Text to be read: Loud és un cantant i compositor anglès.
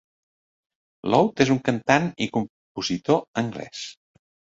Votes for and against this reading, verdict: 1, 3, rejected